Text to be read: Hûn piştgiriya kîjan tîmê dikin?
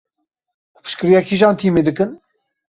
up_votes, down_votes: 1, 2